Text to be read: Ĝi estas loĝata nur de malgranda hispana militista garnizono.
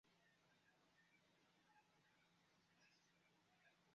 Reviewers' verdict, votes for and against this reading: rejected, 2, 3